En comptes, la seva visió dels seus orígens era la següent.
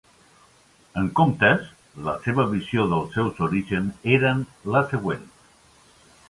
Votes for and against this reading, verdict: 3, 4, rejected